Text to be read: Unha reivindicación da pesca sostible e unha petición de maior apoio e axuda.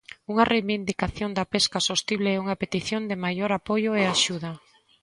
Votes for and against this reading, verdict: 2, 0, accepted